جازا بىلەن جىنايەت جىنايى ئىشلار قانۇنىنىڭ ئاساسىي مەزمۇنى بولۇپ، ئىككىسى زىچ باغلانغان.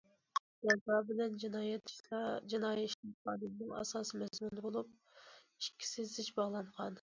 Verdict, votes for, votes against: rejected, 1, 2